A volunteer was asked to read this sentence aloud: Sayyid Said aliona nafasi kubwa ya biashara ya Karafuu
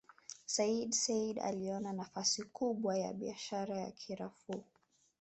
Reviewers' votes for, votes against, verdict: 2, 3, rejected